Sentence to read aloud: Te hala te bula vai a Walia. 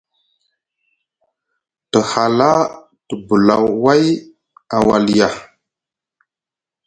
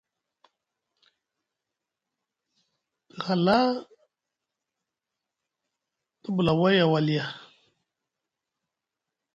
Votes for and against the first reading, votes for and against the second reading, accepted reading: 2, 0, 0, 2, first